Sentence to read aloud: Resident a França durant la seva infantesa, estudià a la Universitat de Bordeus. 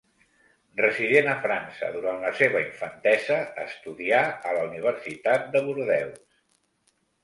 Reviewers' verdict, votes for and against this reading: accepted, 2, 1